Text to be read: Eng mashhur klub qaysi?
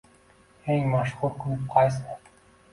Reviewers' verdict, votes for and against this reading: accepted, 2, 0